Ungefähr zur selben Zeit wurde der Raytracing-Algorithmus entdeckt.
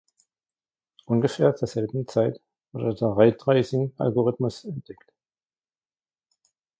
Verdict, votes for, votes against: rejected, 0, 2